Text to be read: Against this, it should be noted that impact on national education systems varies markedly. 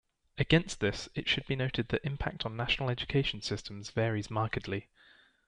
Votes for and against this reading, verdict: 2, 0, accepted